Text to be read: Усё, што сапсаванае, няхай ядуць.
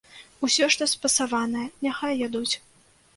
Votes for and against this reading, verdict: 0, 2, rejected